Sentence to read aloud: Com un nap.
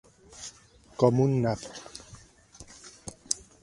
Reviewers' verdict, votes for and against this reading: accepted, 2, 0